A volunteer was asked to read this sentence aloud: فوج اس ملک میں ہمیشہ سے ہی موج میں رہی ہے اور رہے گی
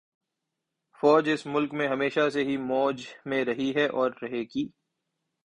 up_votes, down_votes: 2, 0